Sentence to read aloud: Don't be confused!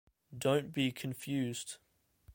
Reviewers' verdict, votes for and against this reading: rejected, 1, 2